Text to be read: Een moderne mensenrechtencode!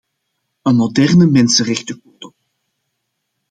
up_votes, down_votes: 1, 2